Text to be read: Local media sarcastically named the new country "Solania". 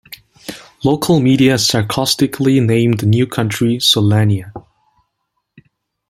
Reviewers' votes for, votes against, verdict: 2, 1, accepted